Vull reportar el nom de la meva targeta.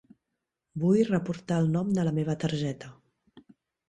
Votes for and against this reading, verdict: 3, 0, accepted